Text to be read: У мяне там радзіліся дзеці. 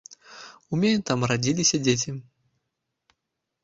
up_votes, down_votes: 2, 1